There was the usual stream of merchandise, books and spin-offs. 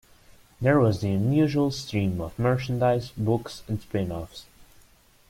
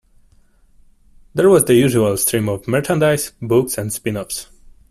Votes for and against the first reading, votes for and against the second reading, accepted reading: 1, 2, 2, 1, second